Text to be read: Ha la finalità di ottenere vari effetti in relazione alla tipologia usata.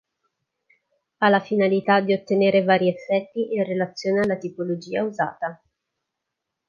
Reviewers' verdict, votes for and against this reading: accepted, 2, 0